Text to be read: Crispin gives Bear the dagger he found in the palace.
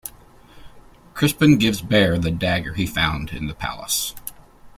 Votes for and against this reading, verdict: 2, 0, accepted